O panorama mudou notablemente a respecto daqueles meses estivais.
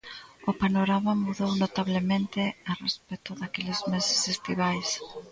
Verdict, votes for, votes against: rejected, 1, 2